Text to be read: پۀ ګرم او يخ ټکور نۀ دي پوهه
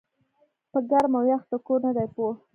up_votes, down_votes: 0, 2